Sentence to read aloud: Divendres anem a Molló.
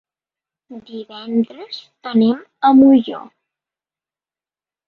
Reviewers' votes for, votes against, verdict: 2, 1, accepted